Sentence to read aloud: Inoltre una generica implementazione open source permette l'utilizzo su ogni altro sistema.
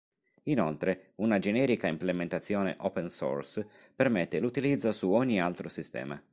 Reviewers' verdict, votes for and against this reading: accepted, 4, 0